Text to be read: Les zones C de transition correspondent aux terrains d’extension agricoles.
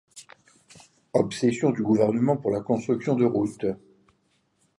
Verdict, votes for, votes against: rejected, 1, 2